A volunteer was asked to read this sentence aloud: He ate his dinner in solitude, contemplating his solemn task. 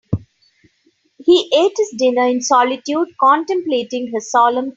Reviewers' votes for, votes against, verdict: 2, 11, rejected